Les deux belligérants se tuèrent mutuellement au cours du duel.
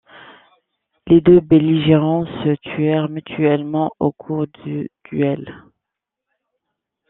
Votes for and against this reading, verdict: 2, 0, accepted